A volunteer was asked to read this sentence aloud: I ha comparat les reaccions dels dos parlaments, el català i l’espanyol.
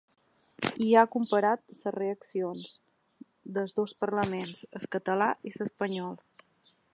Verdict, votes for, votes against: rejected, 0, 2